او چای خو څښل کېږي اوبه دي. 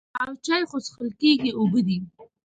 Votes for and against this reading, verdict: 2, 0, accepted